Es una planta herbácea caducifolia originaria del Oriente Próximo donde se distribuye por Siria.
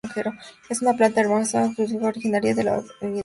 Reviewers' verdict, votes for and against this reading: rejected, 0, 2